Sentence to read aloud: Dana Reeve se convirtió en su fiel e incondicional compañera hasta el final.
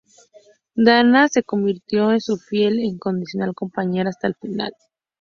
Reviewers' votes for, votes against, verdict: 2, 0, accepted